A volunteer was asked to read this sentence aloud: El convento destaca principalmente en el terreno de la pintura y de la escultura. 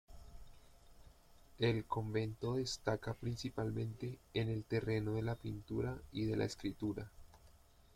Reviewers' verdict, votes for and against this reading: rejected, 1, 2